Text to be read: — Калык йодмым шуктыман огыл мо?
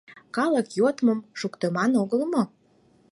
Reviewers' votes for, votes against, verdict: 4, 0, accepted